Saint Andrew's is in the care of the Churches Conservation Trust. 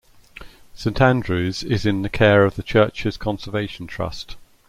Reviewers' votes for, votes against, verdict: 2, 0, accepted